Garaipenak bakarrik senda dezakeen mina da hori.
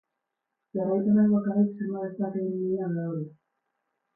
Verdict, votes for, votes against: rejected, 0, 12